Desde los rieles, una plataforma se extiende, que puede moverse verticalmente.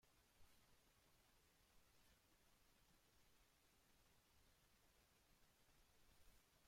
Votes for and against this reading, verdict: 0, 2, rejected